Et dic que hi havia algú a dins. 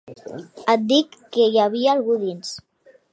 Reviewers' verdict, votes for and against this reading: accepted, 2, 1